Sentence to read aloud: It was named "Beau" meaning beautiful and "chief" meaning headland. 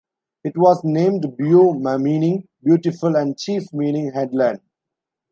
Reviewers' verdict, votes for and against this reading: rejected, 0, 2